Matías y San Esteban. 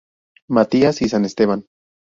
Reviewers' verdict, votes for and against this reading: accepted, 2, 0